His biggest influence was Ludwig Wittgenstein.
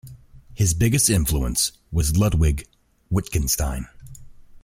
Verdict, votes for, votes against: rejected, 1, 2